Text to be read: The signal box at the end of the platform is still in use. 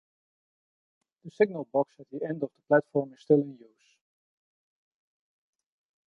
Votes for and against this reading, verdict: 1, 2, rejected